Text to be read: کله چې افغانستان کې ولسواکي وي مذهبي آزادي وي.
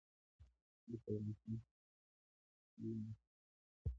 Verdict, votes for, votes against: rejected, 0, 2